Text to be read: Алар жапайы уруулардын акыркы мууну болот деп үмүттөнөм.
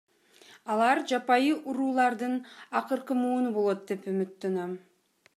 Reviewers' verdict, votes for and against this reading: accepted, 2, 0